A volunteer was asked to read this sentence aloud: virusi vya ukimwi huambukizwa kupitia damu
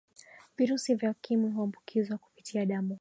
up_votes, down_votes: 2, 0